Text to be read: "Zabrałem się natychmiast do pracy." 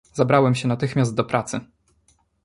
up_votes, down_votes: 2, 0